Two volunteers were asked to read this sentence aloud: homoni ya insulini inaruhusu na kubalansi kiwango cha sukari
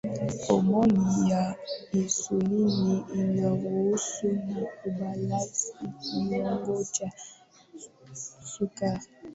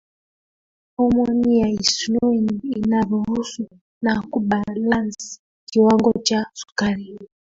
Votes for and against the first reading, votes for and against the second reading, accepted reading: 5, 0, 0, 2, first